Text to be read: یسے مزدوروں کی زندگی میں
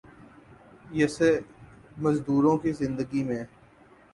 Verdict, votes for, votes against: accepted, 7, 2